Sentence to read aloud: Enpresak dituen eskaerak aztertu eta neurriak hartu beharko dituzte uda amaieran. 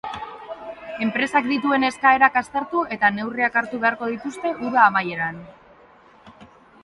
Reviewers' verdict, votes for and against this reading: accepted, 4, 0